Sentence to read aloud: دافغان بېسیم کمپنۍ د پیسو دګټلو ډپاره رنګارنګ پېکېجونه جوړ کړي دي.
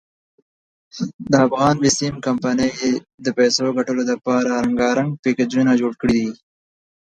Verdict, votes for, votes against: accepted, 2, 0